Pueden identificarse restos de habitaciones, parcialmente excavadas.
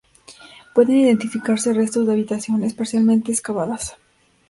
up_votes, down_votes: 2, 0